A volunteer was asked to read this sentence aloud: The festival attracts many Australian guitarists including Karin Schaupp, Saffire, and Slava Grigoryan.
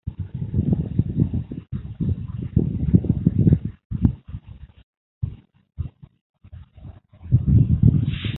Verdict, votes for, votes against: rejected, 0, 2